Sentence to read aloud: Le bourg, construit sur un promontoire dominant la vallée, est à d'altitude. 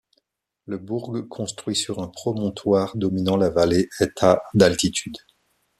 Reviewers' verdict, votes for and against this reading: accepted, 2, 0